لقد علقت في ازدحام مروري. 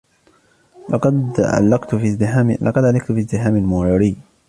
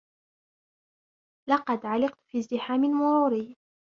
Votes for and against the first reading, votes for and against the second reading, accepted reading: 1, 2, 3, 0, second